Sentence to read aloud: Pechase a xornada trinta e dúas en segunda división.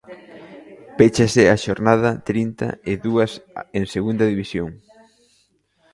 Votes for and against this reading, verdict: 0, 2, rejected